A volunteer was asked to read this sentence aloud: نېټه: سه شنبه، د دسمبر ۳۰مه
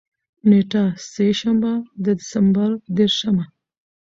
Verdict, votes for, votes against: rejected, 0, 2